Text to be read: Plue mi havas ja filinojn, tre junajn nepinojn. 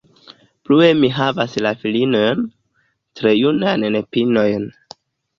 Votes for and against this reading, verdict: 2, 0, accepted